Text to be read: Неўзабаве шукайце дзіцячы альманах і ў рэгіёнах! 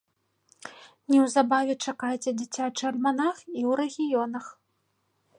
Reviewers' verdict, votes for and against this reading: rejected, 0, 2